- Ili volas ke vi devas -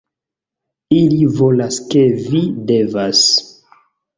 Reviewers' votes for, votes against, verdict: 3, 0, accepted